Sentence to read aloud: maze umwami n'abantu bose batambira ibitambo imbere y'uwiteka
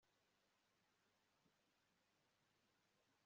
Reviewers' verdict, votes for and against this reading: rejected, 0, 2